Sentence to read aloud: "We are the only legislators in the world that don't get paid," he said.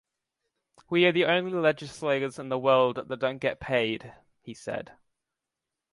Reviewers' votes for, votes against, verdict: 2, 0, accepted